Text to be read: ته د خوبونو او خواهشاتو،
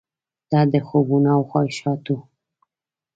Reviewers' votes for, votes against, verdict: 1, 2, rejected